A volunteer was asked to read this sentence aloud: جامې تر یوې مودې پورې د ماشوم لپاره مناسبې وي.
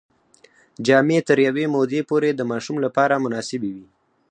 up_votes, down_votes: 0, 4